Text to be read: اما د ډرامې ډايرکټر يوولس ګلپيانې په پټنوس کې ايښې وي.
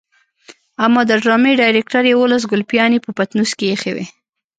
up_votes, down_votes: 2, 0